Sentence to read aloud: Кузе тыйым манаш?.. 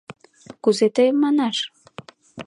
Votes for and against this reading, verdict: 2, 0, accepted